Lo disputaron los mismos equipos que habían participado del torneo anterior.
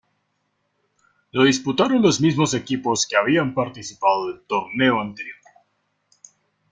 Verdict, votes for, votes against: accepted, 3, 1